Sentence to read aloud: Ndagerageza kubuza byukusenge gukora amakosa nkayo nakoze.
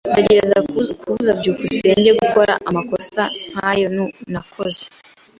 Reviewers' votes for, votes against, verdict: 0, 2, rejected